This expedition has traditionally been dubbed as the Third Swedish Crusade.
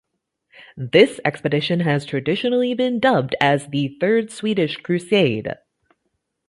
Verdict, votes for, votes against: accepted, 2, 0